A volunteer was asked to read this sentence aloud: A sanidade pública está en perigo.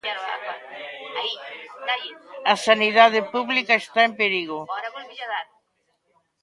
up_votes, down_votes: 0, 2